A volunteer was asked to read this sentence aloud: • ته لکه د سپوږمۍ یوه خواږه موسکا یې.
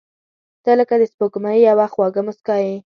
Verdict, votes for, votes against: accepted, 2, 0